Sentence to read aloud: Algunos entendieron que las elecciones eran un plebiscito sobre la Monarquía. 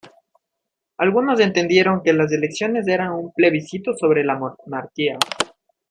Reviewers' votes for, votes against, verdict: 0, 2, rejected